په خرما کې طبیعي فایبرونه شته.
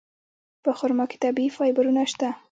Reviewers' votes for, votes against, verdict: 0, 2, rejected